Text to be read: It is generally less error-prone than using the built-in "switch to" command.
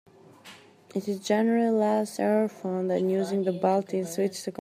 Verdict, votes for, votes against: rejected, 0, 2